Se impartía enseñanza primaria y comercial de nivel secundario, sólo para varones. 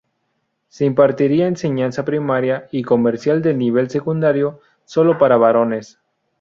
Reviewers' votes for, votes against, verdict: 0, 2, rejected